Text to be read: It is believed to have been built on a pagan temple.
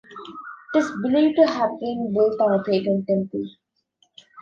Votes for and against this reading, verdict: 1, 2, rejected